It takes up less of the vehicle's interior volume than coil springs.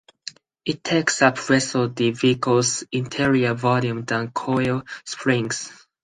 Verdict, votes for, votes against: accepted, 4, 0